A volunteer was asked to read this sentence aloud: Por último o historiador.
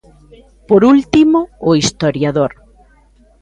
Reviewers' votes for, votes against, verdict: 2, 0, accepted